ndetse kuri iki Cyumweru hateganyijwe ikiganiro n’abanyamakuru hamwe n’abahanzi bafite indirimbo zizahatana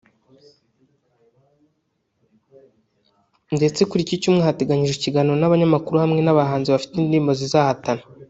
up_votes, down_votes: 1, 2